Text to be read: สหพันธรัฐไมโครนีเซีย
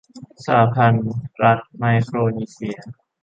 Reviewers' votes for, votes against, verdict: 0, 2, rejected